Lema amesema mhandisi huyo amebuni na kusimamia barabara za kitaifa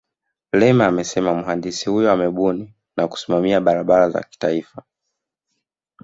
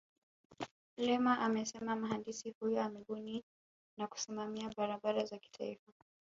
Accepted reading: second